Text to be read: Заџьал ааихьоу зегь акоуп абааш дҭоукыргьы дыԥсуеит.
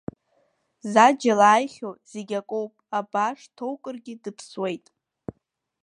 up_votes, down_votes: 2, 0